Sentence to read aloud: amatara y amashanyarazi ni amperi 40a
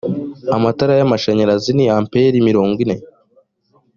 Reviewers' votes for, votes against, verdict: 0, 2, rejected